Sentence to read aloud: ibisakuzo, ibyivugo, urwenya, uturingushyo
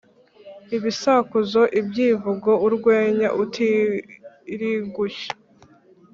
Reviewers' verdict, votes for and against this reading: rejected, 2, 3